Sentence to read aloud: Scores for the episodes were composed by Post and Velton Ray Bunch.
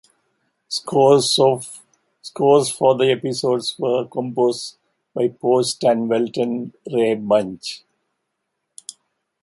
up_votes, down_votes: 0, 2